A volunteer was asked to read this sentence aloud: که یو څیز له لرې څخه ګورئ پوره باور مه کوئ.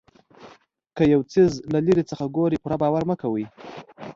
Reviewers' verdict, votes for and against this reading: accepted, 2, 0